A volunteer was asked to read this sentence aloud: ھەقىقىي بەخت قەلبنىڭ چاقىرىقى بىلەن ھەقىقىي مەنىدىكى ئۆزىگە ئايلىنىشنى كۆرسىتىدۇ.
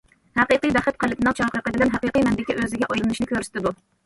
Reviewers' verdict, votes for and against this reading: rejected, 1, 2